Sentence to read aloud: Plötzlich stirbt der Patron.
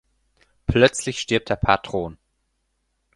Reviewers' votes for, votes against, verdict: 4, 0, accepted